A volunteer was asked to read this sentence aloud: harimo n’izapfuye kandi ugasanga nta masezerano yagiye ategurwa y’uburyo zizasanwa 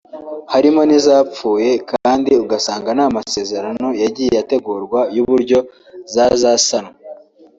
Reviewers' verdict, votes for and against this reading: rejected, 0, 2